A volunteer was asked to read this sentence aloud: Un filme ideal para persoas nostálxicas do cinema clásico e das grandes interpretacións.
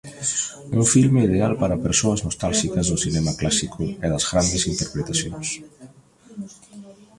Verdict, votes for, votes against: accepted, 2, 1